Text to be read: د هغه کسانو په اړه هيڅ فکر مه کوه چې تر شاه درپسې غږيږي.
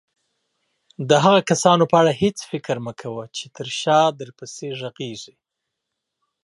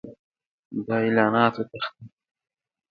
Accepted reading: first